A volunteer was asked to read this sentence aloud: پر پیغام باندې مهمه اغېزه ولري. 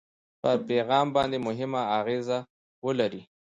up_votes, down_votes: 2, 0